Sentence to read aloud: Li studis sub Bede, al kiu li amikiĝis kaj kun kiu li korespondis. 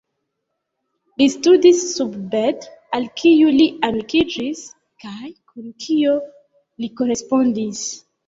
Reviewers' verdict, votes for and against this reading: rejected, 0, 2